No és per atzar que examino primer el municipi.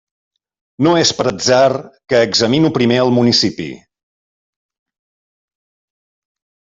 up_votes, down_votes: 2, 0